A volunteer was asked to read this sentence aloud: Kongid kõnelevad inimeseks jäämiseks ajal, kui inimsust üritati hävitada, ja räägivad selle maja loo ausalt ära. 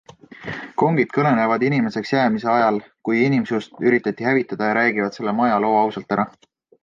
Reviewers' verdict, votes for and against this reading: accepted, 2, 0